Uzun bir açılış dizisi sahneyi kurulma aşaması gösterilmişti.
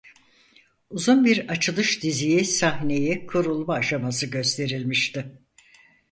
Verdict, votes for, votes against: rejected, 0, 4